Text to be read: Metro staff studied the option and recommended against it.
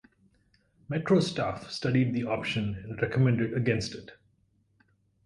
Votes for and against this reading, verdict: 4, 0, accepted